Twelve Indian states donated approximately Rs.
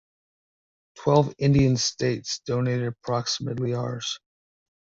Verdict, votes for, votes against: rejected, 1, 2